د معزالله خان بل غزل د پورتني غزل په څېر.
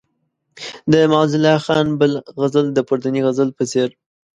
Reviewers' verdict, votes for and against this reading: accepted, 2, 0